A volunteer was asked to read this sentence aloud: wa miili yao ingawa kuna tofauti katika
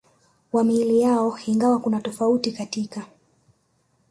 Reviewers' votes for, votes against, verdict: 1, 2, rejected